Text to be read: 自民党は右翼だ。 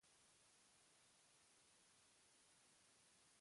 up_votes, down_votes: 0, 2